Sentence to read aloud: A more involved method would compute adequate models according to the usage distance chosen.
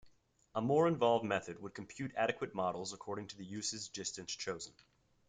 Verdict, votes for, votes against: accepted, 2, 0